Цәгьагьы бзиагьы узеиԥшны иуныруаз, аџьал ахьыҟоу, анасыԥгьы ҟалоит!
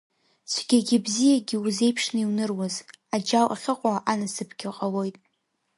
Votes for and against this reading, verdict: 0, 2, rejected